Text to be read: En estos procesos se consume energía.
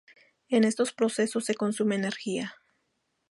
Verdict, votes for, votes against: accepted, 2, 0